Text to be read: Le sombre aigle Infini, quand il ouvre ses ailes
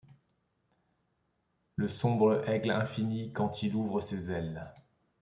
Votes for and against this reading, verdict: 2, 1, accepted